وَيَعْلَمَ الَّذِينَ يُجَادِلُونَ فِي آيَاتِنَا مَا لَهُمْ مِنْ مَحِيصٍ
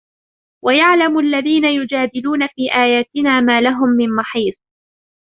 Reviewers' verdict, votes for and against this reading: accepted, 2, 1